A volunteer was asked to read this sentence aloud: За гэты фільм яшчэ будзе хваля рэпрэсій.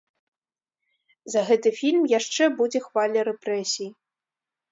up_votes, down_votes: 2, 0